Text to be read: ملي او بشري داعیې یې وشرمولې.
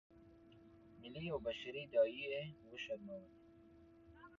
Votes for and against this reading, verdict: 2, 0, accepted